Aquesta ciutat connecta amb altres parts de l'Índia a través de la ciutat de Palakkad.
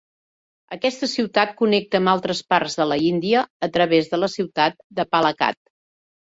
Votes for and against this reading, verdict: 0, 2, rejected